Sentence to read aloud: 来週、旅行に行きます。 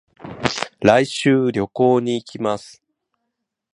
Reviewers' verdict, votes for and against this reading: rejected, 0, 2